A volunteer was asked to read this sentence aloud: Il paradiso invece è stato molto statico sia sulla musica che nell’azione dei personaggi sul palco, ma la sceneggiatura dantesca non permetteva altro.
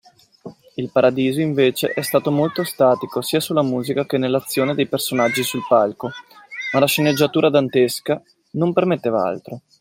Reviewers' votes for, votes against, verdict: 2, 0, accepted